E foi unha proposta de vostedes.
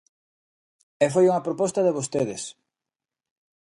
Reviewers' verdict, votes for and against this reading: accepted, 2, 0